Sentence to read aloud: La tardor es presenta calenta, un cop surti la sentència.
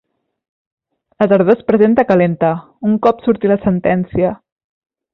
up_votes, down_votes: 2, 0